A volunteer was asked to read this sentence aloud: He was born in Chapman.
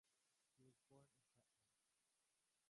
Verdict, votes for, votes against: rejected, 0, 3